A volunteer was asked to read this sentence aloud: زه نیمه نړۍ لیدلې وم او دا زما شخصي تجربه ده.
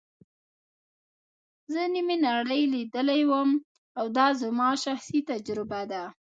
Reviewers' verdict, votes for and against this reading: rejected, 1, 2